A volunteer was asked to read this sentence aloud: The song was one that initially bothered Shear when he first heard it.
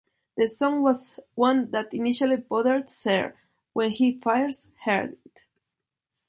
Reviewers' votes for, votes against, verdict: 0, 2, rejected